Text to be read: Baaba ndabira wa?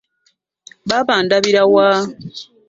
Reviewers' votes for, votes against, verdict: 2, 0, accepted